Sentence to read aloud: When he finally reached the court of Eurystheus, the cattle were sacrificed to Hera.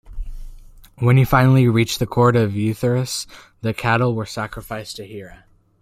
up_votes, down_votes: 0, 2